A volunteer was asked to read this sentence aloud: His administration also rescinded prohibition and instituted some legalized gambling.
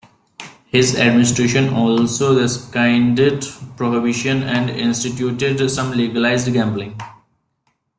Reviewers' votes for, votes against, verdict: 0, 2, rejected